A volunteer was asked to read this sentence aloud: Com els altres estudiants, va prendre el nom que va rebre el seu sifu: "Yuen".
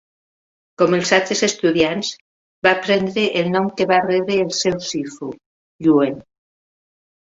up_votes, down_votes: 2, 0